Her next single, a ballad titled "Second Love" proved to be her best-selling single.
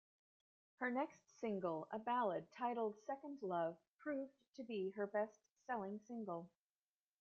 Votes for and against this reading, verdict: 0, 2, rejected